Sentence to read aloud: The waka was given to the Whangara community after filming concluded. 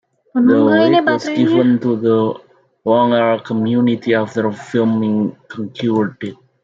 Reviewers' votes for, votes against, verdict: 0, 2, rejected